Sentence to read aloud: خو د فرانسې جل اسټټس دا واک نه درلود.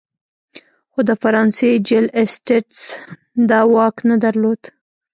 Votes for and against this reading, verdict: 0, 2, rejected